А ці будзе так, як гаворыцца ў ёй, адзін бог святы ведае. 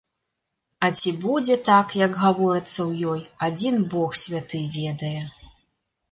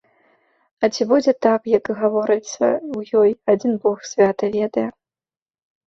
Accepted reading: first